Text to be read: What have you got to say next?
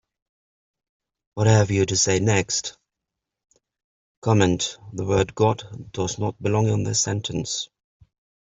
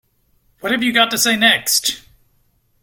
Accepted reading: second